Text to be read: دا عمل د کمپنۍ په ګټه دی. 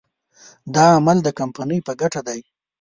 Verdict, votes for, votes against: accepted, 2, 0